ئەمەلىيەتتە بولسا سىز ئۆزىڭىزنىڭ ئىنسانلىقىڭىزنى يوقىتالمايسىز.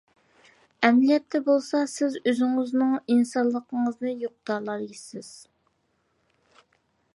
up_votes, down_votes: 0, 2